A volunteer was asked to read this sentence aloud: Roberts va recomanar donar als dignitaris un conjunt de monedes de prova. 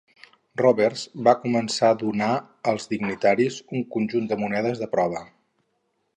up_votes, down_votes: 4, 4